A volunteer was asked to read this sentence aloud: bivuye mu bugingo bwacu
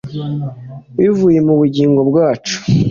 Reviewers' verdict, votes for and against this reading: accepted, 2, 0